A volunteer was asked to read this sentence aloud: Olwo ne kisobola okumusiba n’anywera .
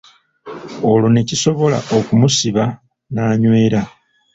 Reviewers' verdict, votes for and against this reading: accepted, 2, 0